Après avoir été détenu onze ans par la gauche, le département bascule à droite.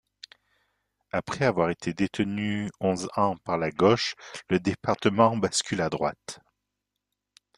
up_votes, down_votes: 1, 2